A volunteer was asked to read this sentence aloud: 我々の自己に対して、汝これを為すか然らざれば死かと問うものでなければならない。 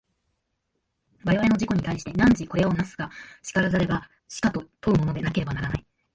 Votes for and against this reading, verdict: 2, 0, accepted